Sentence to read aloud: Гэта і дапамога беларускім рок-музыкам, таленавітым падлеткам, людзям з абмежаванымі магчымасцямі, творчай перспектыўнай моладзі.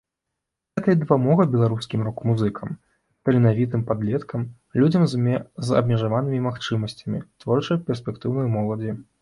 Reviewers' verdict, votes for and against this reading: rejected, 0, 2